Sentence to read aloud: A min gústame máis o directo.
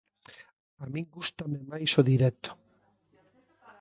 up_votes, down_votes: 1, 2